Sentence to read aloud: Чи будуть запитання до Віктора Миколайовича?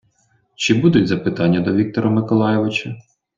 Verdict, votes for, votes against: accepted, 2, 0